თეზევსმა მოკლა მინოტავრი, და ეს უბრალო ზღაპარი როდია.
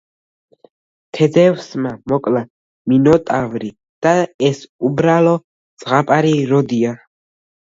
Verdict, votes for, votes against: rejected, 0, 2